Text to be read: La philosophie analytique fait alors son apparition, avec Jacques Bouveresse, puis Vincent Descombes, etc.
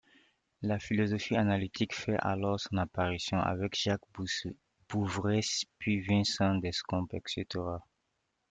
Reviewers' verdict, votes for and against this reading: rejected, 0, 2